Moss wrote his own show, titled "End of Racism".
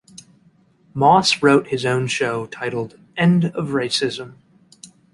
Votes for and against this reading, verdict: 2, 0, accepted